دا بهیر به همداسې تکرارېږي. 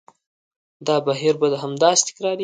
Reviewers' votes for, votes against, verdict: 1, 2, rejected